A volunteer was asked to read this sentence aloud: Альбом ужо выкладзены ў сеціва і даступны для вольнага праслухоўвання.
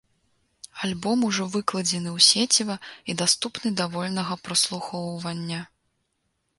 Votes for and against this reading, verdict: 0, 2, rejected